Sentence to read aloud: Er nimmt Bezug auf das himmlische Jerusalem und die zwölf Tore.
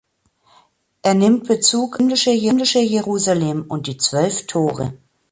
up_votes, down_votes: 0, 3